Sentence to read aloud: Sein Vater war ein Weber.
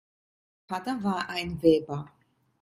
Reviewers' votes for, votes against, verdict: 0, 2, rejected